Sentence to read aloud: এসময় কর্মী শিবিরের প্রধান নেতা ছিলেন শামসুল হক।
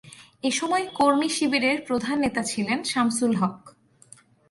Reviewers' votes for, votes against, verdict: 4, 0, accepted